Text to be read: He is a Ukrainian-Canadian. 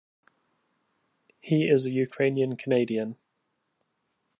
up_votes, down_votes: 2, 0